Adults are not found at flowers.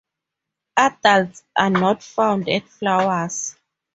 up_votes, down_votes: 2, 0